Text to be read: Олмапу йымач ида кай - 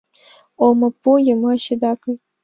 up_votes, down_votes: 3, 0